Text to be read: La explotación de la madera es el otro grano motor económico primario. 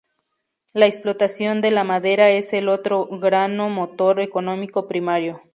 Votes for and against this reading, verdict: 2, 0, accepted